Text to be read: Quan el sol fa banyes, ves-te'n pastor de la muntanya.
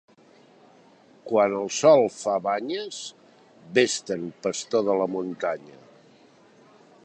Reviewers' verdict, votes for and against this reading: accepted, 2, 0